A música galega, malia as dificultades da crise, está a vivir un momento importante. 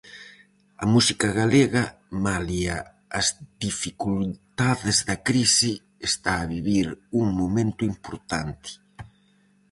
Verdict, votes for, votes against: rejected, 2, 2